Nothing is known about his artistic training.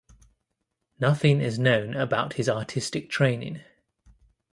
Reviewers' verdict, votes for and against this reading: accepted, 2, 0